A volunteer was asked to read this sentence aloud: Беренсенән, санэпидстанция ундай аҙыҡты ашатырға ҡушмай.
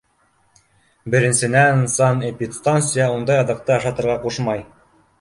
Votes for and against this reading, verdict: 2, 0, accepted